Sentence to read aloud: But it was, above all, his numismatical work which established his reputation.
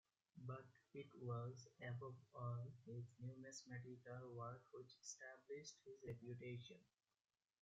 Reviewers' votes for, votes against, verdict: 1, 2, rejected